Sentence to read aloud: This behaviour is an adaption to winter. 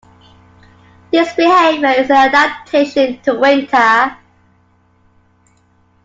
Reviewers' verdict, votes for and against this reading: rejected, 1, 2